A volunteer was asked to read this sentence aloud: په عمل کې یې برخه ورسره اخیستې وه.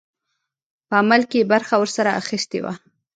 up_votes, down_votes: 1, 2